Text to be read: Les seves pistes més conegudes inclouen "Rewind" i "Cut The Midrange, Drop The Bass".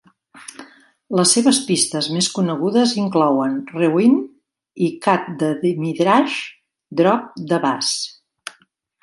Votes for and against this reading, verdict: 0, 2, rejected